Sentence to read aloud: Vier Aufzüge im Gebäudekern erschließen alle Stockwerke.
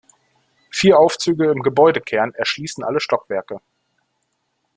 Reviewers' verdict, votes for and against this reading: accepted, 2, 0